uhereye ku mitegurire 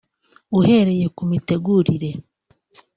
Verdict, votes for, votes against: accepted, 3, 0